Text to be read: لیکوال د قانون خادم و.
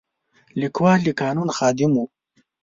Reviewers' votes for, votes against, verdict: 2, 0, accepted